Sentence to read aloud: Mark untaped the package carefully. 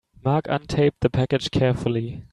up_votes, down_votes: 2, 1